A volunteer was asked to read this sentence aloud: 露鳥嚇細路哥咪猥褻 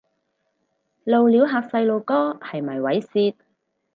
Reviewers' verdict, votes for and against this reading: rejected, 2, 2